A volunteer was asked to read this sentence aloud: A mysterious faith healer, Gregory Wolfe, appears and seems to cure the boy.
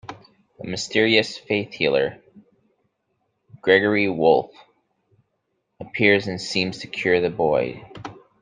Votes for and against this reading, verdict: 2, 0, accepted